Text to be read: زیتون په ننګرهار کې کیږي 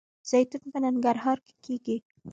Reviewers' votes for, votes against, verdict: 1, 2, rejected